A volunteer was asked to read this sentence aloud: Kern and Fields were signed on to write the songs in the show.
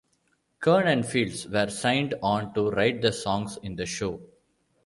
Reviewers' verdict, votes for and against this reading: accepted, 2, 0